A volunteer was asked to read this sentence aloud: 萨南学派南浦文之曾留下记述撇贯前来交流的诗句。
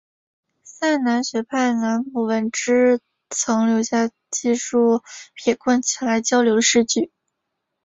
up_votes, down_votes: 2, 1